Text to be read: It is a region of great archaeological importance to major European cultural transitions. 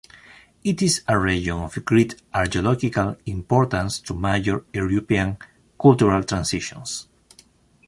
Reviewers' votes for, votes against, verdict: 0, 2, rejected